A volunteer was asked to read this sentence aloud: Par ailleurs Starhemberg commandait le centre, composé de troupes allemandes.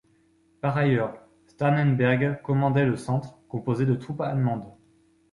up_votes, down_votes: 0, 2